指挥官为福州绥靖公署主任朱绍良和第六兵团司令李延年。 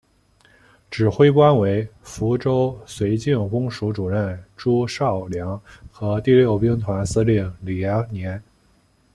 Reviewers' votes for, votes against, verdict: 2, 0, accepted